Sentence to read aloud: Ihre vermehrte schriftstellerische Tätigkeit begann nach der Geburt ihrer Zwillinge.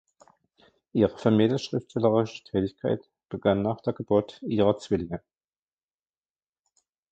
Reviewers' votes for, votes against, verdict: 1, 2, rejected